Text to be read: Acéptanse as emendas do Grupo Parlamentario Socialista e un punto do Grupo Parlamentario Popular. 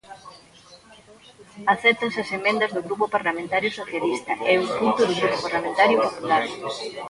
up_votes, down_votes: 0, 2